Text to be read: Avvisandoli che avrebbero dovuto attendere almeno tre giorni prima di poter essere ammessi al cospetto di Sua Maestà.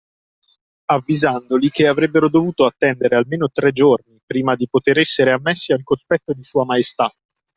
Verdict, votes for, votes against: accepted, 2, 0